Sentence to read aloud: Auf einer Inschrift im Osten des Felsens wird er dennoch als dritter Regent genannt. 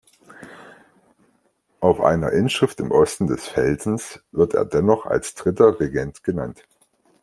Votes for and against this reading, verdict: 2, 0, accepted